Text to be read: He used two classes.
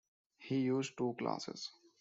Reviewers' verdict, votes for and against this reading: accepted, 2, 0